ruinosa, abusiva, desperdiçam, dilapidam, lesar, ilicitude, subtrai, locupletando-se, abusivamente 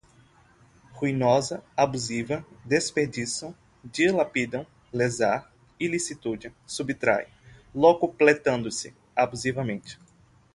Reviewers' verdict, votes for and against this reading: accepted, 6, 0